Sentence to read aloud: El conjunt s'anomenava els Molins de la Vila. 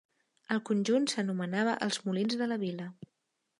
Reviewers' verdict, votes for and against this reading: accepted, 3, 0